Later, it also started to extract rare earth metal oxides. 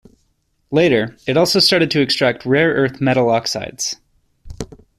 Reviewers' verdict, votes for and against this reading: accepted, 2, 0